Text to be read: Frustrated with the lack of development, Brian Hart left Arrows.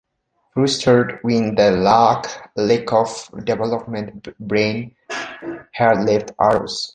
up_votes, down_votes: 0, 2